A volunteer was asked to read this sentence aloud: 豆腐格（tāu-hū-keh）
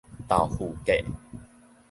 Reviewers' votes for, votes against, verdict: 2, 0, accepted